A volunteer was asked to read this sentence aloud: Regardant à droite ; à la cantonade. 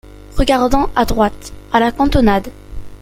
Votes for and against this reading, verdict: 2, 0, accepted